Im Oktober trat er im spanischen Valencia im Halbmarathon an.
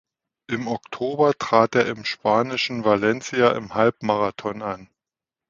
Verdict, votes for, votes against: accepted, 2, 0